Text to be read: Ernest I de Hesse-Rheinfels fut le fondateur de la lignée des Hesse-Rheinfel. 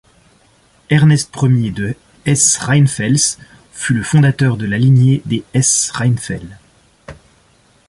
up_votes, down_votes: 2, 1